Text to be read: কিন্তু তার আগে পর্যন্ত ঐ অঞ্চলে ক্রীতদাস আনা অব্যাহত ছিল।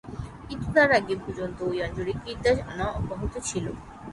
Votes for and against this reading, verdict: 0, 3, rejected